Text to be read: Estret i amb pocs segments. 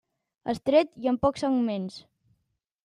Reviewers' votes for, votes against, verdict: 3, 0, accepted